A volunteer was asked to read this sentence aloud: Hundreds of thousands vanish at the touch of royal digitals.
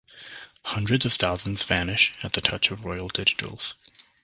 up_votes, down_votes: 3, 0